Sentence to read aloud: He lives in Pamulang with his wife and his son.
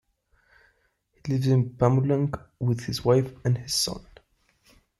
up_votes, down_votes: 2, 0